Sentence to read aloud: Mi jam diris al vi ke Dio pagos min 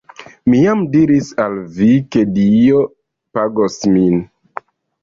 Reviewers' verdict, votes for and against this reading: accepted, 2, 0